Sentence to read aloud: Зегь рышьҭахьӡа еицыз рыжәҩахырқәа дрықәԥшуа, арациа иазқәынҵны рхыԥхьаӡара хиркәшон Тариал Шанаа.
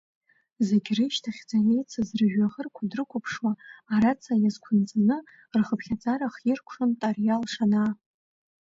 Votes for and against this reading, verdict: 0, 2, rejected